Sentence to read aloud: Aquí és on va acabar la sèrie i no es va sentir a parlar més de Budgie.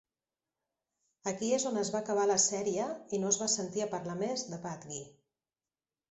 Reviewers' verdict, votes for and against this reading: rejected, 0, 2